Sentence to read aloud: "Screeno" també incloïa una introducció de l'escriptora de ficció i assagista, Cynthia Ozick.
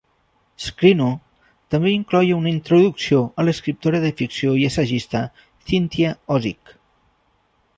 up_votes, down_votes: 0, 2